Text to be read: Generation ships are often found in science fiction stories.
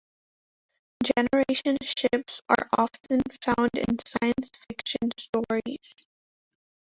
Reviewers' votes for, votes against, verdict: 2, 1, accepted